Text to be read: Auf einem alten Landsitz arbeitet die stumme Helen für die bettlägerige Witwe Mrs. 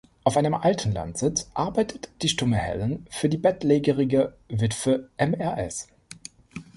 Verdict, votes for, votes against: rejected, 1, 3